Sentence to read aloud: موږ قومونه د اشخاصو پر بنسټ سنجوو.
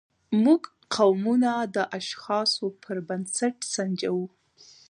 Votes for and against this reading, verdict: 0, 2, rejected